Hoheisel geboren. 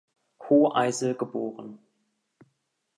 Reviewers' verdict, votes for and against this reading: accepted, 3, 0